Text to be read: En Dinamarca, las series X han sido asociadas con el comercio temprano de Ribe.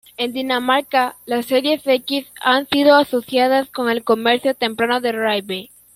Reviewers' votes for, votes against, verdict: 2, 1, accepted